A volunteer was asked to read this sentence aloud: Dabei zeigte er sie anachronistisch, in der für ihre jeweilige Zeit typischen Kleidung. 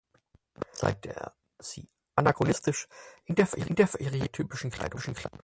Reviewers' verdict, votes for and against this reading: rejected, 0, 4